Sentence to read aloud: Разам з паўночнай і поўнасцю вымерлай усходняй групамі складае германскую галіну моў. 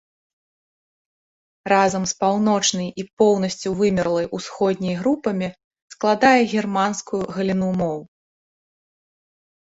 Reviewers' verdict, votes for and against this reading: accepted, 2, 0